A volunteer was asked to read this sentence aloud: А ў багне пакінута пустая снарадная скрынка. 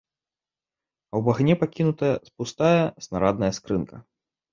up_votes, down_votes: 0, 2